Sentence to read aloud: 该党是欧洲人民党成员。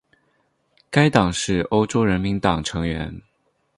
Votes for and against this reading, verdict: 4, 0, accepted